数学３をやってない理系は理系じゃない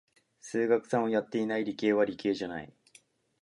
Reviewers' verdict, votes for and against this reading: rejected, 0, 2